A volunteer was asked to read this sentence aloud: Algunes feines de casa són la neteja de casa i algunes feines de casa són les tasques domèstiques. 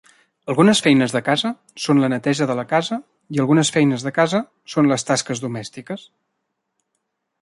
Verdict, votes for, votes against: rejected, 0, 2